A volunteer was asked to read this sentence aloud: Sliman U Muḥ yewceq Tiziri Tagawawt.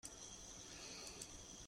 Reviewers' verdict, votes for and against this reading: rejected, 0, 2